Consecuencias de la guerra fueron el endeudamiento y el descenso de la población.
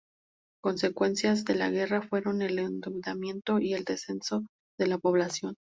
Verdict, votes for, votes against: accepted, 2, 0